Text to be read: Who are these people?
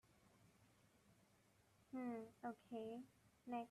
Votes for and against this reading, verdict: 0, 2, rejected